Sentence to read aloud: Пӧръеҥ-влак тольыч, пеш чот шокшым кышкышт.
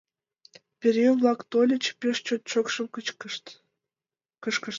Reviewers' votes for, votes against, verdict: 0, 2, rejected